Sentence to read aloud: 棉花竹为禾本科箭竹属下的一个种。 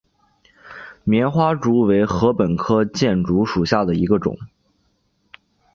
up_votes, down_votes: 3, 0